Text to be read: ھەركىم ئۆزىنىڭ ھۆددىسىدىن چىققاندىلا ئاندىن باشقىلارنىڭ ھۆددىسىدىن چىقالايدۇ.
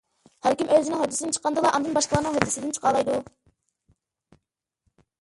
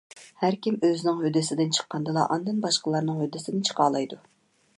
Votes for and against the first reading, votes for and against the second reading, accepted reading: 0, 2, 2, 0, second